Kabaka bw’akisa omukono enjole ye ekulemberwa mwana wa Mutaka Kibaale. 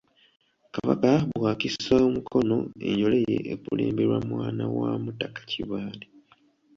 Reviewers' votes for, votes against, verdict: 2, 1, accepted